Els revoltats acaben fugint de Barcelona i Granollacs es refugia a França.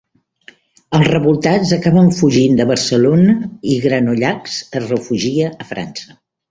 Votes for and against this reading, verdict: 3, 0, accepted